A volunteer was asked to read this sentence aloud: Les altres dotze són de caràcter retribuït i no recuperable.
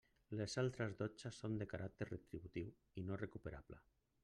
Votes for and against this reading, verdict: 0, 2, rejected